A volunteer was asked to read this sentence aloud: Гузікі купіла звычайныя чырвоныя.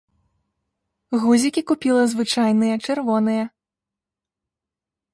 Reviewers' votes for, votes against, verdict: 1, 2, rejected